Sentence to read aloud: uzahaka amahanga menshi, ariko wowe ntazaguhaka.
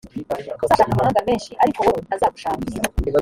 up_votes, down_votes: 1, 2